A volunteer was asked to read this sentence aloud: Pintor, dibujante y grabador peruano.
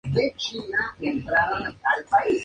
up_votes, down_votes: 0, 2